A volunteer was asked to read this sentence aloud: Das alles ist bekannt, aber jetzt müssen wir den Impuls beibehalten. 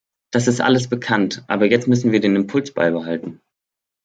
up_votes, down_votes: 0, 2